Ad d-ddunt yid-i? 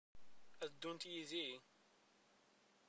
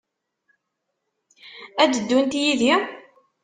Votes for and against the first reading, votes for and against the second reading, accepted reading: 1, 2, 2, 0, second